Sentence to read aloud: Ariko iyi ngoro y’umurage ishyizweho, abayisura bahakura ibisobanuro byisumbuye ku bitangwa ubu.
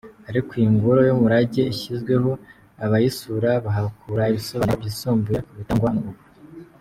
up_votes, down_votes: 2, 0